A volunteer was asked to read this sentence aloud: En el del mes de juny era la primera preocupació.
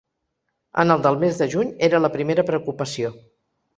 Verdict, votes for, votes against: accepted, 3, 0